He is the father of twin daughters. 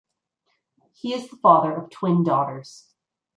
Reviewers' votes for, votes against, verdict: 1, 2, rejected